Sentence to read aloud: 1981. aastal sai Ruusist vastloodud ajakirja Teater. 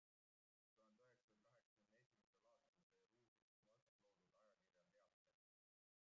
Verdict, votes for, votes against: rejected, 0, 2